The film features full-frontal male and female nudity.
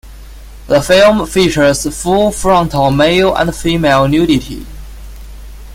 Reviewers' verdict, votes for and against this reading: accepted, 2, 1